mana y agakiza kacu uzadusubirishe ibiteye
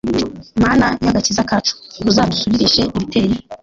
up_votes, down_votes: 1, 2